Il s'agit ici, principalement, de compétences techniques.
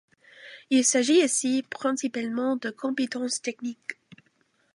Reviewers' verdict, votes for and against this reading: accepted, 2, 0